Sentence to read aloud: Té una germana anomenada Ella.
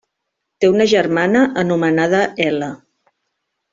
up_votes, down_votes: 1, 2